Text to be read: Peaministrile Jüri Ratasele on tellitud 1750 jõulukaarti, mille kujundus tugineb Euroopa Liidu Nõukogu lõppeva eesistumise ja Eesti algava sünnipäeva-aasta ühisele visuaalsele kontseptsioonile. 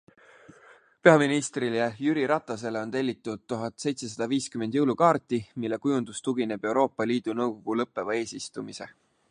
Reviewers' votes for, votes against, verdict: 0, 2, rejected